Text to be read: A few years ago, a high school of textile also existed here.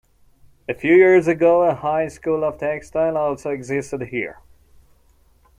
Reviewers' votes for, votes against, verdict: 2, 0, accepted